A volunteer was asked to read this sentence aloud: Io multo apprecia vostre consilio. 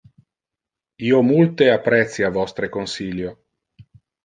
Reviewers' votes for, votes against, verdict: 0, 2, rejected